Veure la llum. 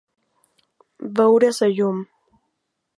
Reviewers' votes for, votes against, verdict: 0, 2, rejected